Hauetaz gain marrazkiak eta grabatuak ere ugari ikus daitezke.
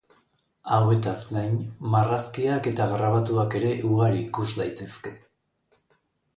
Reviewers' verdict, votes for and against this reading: accepted, 2, 0